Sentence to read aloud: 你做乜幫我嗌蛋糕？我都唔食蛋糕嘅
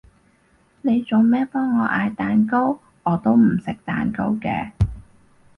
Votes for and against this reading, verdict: 2, 4, rejected